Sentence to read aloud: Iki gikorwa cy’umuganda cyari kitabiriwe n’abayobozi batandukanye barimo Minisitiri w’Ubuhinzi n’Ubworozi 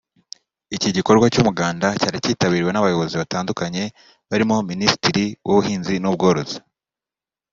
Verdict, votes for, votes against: accepted, 2, 0